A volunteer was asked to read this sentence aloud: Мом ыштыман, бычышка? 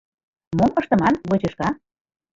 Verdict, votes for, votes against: rejected, 0, 2